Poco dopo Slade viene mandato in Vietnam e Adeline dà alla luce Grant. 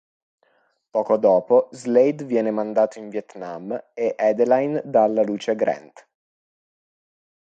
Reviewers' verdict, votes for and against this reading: accepted, 2, 0